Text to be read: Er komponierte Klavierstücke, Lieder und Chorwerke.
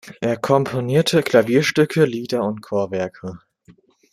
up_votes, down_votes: 2, 0